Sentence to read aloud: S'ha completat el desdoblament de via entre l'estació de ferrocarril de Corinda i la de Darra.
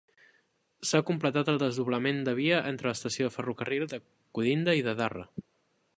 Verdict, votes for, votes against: rejected, 0, 3